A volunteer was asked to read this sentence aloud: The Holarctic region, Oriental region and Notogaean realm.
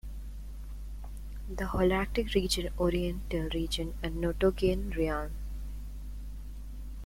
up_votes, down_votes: 3, 1